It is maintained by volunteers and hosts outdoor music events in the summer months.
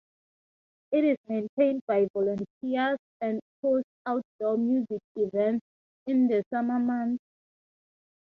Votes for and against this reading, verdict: 3, 0, accepted